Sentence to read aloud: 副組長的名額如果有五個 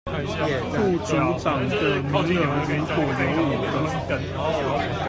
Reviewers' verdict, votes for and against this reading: rejected, 0, 2